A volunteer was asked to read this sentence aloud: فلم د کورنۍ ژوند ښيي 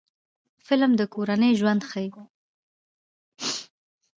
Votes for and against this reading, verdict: 1, 2, rejected